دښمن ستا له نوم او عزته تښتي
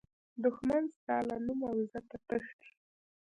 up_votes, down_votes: 1, 2